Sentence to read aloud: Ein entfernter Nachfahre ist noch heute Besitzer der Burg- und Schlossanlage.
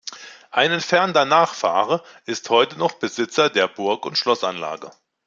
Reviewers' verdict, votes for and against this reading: rejected, 1, 2